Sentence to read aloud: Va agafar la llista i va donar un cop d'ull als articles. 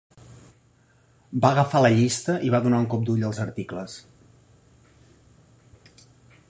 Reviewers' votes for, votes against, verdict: 3, 0, accepted